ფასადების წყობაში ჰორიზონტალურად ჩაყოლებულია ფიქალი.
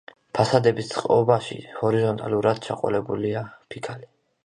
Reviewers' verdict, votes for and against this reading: accepted, 2, 0